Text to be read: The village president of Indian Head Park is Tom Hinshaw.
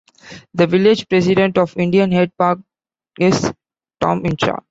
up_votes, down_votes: 1, 2